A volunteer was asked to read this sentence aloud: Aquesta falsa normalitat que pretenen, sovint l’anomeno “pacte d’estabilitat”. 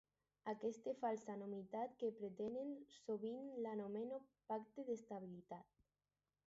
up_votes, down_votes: 0, 4